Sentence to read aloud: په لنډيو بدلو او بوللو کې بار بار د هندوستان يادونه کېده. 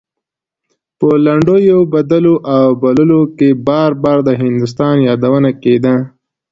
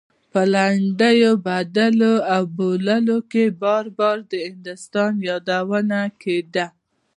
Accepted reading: first